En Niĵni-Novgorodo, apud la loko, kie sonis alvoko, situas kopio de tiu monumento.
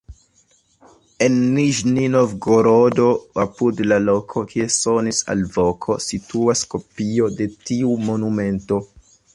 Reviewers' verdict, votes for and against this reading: accepted, 2, 0